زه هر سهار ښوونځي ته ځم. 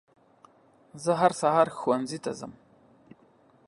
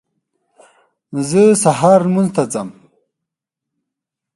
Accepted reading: first